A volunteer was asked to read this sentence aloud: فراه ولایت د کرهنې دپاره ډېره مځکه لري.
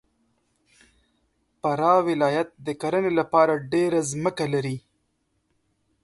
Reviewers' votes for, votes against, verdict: 2, 0, accepted